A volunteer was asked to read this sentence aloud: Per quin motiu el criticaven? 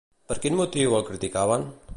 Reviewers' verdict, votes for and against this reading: accepted, 2, 0